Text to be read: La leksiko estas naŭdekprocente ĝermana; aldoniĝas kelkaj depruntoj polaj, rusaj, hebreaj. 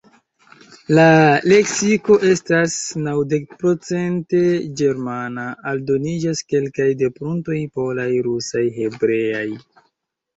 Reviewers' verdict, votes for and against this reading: accepted, 2, 1